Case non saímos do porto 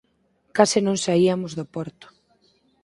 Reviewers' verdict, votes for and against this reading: accepted, 4, 0